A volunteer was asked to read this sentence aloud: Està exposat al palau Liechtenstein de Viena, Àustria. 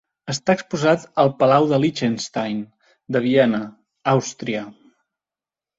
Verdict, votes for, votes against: rejected, 0, 2